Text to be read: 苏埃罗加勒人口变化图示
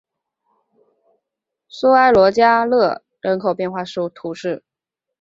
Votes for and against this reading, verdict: 3, 0, accepted